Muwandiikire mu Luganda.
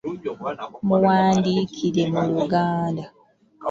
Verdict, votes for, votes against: rejected, 0, 2